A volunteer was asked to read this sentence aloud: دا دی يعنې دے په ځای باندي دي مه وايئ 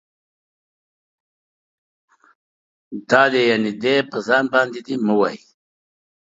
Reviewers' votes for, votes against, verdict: 3, 1, accepted